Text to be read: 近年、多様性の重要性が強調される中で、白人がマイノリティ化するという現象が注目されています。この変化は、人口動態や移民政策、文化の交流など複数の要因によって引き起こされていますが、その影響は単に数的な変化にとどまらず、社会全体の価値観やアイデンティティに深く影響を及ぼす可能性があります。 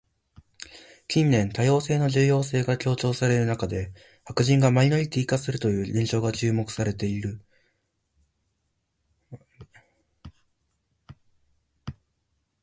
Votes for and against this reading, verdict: 0, 2, rejected